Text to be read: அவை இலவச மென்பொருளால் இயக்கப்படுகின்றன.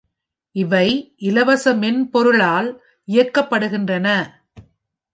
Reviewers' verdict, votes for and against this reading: rejected, 2, 3